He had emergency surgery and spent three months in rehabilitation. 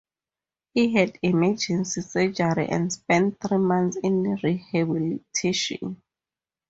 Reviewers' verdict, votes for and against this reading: accepted, 2, 0